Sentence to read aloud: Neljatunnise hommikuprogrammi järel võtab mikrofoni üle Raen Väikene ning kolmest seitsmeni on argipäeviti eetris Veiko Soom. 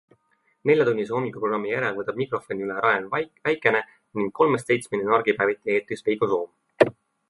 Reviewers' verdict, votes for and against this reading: rejected, 1, 2